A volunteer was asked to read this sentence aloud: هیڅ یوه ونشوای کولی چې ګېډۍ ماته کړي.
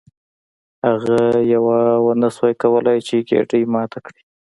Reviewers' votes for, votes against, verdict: 0, 2, rejected